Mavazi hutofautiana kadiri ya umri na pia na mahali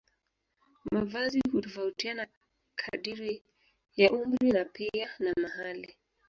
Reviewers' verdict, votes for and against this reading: accepted, 2, 0